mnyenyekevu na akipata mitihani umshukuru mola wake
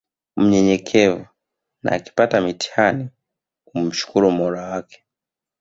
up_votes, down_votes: 1, 2